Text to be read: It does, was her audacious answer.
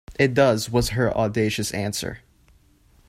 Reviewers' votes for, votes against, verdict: 2, 0, accepted